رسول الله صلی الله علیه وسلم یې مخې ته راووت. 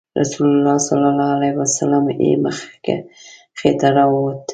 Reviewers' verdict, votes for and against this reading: accepted, 2, 1